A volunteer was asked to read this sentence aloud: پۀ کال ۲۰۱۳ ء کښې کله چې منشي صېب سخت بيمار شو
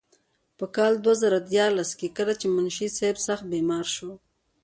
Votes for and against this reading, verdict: 0, 2, rejected